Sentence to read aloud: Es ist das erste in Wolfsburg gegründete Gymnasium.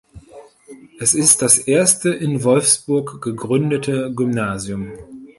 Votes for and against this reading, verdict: 2, 0, accepted